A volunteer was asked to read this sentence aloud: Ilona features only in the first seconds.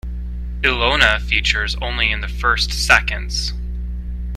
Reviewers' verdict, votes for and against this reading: accepted, 2, 0